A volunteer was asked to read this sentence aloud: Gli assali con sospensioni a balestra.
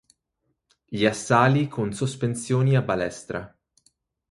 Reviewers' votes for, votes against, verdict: 4, 0, accepted